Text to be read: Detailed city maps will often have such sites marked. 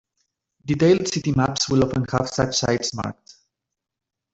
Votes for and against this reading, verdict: 2, 1, accepted